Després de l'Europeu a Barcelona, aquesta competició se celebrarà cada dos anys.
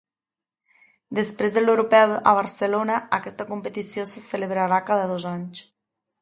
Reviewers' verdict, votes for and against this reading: accepted, 2, 0